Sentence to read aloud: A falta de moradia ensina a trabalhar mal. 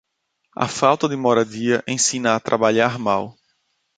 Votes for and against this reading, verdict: 2, 0, accepted